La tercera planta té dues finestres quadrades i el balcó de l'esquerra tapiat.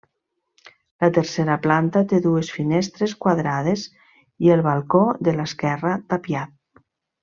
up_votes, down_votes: 3, 0